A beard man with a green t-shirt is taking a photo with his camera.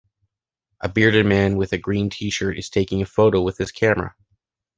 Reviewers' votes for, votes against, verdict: 0, 2, rejected